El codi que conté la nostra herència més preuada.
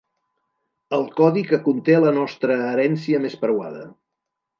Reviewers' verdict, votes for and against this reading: accepted, 2, 0